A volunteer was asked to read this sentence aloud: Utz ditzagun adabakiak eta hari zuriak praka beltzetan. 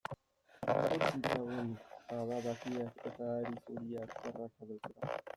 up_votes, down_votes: 1, 2